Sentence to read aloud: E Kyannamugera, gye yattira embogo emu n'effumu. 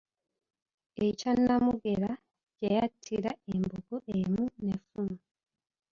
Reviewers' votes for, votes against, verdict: 1, 2, rejected